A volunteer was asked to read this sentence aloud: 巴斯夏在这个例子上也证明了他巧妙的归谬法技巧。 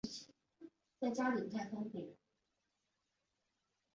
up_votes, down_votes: 1, 2